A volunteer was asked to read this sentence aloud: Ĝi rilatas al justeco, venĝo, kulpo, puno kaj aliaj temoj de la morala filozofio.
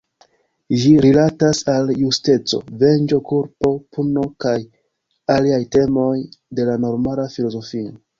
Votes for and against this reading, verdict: 0, 2, rejected